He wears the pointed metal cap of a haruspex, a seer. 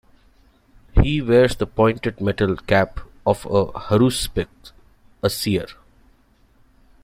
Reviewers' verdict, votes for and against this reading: rejected, 0, 2